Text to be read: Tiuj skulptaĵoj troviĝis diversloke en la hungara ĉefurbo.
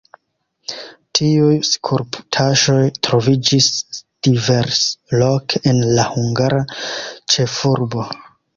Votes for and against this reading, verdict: 1, 2, rejected